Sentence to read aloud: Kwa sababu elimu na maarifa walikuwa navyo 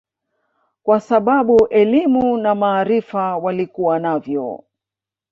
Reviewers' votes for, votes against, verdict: 2, 1, accepted